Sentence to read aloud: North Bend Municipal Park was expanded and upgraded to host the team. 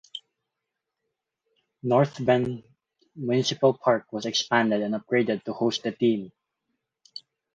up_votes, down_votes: 2, 2